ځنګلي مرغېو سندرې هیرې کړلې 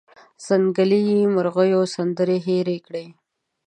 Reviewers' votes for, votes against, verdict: 2, 1, accepted